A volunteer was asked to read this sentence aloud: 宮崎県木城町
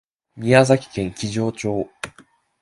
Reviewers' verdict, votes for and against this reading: accepted, 6, 0